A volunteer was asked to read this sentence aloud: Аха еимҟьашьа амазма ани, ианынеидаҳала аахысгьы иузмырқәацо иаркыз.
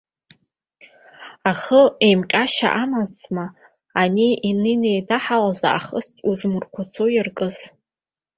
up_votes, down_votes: 1, 2